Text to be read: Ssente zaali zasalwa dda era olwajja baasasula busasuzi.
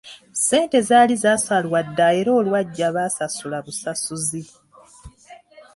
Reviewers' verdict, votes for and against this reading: accepted, 2, 1